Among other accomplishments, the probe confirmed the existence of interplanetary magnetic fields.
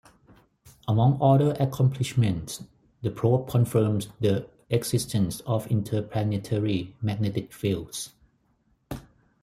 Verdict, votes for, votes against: accepted, 4, 0